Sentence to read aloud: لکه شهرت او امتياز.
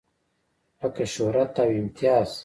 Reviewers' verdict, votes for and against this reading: rejected, 0, 2